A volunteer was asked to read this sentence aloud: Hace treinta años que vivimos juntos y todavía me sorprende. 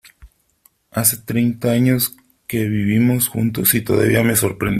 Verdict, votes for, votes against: accepted, 2, 1